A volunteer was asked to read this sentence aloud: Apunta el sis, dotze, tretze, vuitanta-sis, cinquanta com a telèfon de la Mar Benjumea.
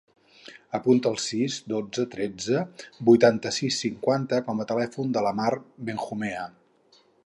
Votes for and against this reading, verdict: 2, 2, rejected